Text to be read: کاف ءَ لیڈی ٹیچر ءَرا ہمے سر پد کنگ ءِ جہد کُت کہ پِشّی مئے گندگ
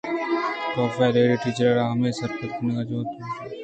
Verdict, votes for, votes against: accepted, 2, 0